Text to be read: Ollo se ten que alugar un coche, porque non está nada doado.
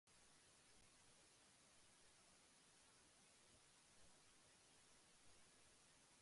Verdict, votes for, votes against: rejected, 0, 2